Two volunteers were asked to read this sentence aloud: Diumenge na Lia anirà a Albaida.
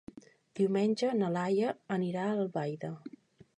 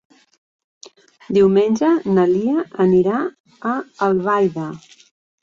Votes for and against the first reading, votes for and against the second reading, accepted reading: 1, 2, 4, 0, second